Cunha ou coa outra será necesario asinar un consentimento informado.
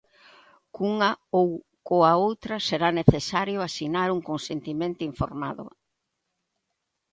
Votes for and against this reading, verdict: 2, 1, accepted